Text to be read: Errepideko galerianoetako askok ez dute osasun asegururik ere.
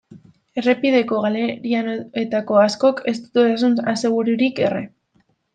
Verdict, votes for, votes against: rejected, 0, 2